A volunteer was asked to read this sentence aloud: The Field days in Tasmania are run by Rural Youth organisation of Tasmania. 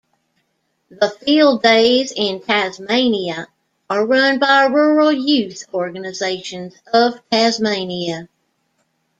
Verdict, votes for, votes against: accepted, 2, 0